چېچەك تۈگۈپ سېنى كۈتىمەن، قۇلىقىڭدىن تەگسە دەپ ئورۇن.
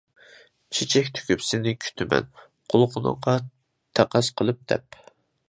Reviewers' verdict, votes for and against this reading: rejected, 0, 2